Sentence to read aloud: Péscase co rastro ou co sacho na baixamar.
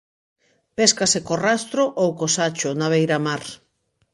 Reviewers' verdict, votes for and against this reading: rejected, 0, 3